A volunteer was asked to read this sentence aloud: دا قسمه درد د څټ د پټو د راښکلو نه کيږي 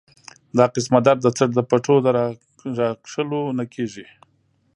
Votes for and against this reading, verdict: 2, 0, accepted